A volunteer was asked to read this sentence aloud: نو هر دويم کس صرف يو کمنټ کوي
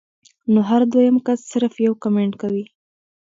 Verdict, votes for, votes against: rejected, 0, 2